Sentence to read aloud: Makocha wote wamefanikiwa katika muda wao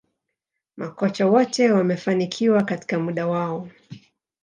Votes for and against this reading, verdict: 3, 2, accepted